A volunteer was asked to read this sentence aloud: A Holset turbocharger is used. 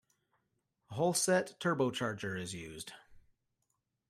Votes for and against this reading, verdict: 2, 0, accepted